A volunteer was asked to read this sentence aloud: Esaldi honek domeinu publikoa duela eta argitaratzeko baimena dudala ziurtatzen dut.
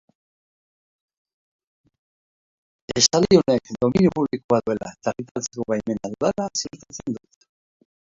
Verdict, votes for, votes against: rejected, 0, 2